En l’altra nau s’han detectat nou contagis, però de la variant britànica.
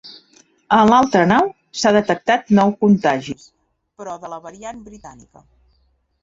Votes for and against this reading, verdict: 0, 2, rejected